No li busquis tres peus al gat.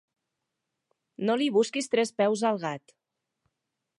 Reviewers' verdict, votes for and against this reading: accepted, 4, 0